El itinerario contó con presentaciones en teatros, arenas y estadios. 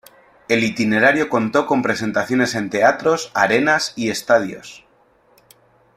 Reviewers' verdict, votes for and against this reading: accepted, 2, 0